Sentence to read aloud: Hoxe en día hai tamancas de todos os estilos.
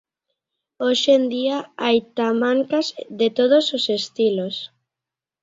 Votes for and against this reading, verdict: 2, 0, accepted